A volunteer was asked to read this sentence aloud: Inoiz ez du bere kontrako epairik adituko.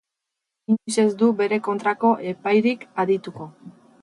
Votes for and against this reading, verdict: 4, 2, accepted